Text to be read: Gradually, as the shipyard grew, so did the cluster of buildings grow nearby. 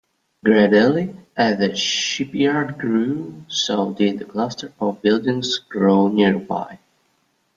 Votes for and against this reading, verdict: 1, 2, rejected